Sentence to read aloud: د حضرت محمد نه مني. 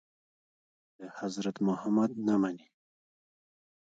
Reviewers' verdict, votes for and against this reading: rejected, 0, 2